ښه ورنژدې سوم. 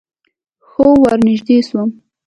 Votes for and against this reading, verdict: 2, 0, accepted